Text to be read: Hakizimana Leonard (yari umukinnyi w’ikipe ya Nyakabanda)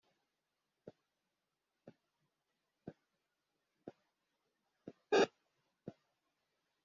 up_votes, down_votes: 0, 3